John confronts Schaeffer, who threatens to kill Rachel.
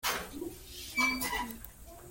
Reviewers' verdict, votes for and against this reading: rejected, 0, 2